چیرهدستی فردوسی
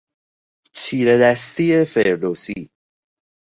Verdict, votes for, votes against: accepted, 2, 0